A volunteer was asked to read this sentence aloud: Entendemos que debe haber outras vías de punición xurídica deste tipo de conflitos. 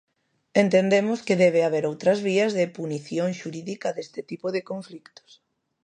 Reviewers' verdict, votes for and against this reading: rejected, 0, 2